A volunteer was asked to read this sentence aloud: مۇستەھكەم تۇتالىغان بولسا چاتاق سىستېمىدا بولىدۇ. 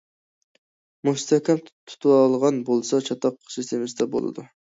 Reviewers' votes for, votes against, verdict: 1, 2, rejected